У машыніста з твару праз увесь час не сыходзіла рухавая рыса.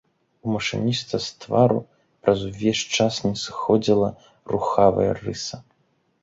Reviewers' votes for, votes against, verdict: 2, 0, accepted